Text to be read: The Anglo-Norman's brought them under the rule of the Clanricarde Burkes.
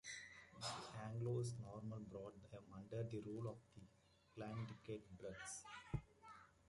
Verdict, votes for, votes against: rejected, 0, 2